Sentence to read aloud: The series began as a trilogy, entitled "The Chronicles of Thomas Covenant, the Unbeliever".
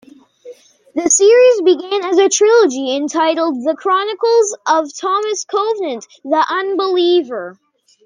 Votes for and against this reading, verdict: 2, 1, accepted